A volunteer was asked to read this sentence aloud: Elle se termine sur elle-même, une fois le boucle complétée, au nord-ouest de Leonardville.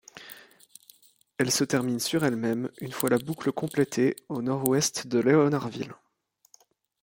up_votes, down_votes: 2, 0